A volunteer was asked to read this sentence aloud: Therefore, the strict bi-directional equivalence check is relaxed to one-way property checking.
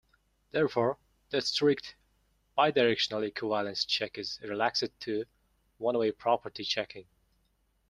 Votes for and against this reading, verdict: 1, 2, rejected